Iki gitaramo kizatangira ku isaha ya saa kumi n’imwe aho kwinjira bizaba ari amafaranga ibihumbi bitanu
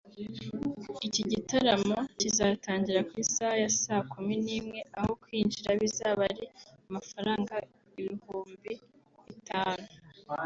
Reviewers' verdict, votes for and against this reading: accepted, 2, 0